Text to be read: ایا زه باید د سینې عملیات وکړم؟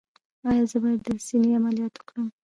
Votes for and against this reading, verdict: 1, 2, rejected